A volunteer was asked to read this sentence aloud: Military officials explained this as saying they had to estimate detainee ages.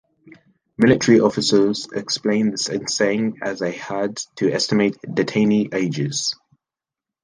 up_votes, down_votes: 1, 2